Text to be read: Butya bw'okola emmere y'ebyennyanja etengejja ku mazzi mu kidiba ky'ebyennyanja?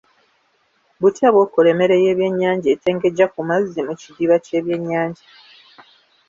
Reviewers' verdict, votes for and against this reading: accepted, 2, 0